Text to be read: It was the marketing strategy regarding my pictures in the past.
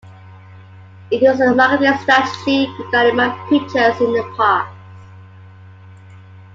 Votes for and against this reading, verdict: 2, 0, accepted